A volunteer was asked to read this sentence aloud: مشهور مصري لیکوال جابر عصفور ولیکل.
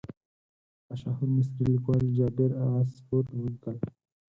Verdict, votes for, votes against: rejected, 2, 4